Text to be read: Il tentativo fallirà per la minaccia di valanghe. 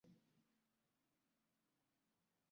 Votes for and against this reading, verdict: 1, 3, rejected